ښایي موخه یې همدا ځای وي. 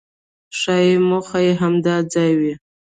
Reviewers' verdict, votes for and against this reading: rejected, 1, 2